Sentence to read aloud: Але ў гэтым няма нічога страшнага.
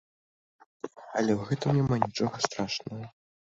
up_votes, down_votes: 2, 0